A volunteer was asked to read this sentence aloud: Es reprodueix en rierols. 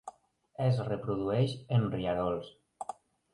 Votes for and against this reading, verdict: 3, 0, accepted